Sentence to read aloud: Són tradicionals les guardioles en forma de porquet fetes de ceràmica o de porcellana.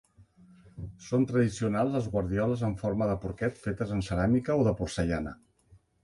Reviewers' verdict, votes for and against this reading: rejected, 1, 2